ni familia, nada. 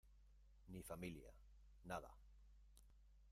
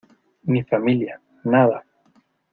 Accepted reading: second